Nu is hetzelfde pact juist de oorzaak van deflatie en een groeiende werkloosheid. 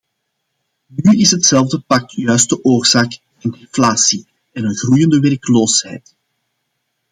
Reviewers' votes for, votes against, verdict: 1, 2, rejected